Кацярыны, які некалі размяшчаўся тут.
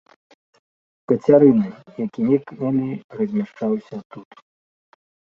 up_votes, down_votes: 1, 2